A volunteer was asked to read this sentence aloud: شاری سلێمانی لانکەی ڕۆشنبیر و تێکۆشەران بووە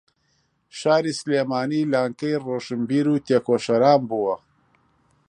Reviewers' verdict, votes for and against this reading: accepted, 2, 0